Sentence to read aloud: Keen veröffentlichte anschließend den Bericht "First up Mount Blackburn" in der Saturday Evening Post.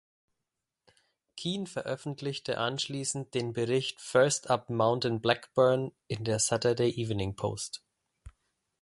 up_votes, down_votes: 0, 2